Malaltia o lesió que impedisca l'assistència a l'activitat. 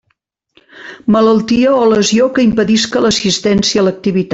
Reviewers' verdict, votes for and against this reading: rejected, 0, 2